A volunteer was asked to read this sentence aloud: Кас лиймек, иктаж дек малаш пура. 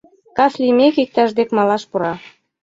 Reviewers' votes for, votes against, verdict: 3, 0, accepted